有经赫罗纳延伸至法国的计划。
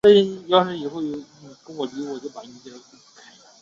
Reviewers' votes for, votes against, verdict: 0, 2, rejected